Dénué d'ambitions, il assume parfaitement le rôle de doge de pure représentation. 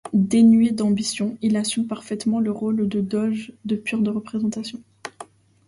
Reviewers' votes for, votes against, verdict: 1, 2, rejected